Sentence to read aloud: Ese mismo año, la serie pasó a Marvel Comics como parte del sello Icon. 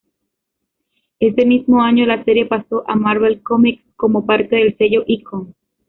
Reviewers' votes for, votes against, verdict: 2, 1, accepted